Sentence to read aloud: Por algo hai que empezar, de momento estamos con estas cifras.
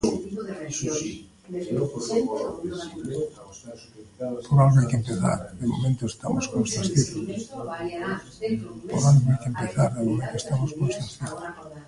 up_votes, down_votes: 0, 2